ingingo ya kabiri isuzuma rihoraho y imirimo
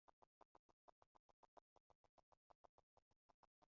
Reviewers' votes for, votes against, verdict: 1, 2, rejected